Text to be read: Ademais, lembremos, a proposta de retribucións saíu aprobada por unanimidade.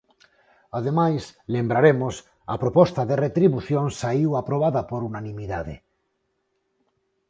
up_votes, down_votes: 0, 4